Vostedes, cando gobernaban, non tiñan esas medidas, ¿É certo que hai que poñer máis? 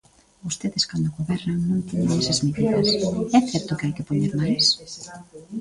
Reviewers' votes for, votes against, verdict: 0, 2, rejected